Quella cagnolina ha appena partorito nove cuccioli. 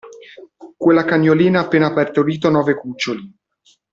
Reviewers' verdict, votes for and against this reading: rejected, 1, 2